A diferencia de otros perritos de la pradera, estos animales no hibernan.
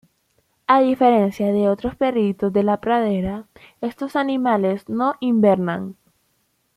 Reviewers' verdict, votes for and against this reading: accepted, 2, 1